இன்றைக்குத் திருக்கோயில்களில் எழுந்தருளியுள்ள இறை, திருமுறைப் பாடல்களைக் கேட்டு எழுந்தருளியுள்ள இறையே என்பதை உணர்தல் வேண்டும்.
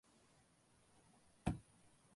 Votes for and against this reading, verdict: 0, 2, rejected